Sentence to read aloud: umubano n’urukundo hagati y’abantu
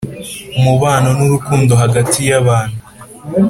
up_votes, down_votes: 5, 1